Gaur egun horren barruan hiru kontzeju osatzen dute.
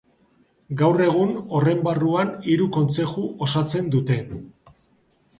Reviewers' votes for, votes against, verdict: 3, 0, accepted